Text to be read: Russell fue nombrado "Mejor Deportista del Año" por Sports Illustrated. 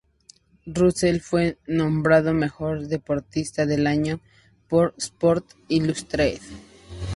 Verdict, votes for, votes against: accepted, 2, 0